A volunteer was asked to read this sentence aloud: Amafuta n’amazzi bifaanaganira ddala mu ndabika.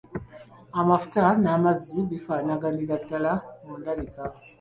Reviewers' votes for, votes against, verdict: 2, 1, accepted